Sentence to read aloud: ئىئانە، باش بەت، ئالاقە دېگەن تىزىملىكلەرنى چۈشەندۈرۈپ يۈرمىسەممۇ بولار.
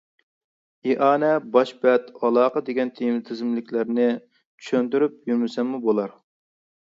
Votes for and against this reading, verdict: 0, 2, rejected